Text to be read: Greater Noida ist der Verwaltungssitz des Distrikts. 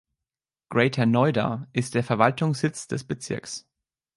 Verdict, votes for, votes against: rejected, 0, 2